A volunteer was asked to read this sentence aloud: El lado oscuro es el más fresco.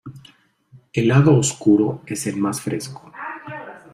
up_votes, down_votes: 2, 0